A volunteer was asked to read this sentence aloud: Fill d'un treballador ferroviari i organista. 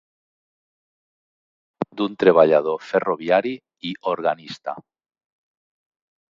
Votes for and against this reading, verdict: 1, 2, rejected